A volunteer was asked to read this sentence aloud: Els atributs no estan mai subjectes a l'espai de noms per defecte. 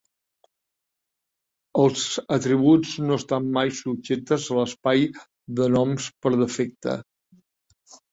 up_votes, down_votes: 2, 0